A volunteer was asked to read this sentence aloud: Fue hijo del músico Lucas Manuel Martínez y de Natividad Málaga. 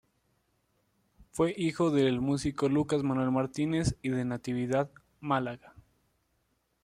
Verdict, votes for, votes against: accepted, 2, 0